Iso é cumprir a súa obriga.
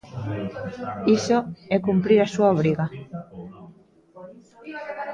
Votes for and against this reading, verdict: 1, 2, rejected